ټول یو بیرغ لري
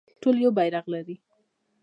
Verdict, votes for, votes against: accepted, 2, 1